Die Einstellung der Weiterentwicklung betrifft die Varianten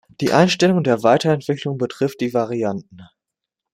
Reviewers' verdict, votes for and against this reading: accepted, 2, 0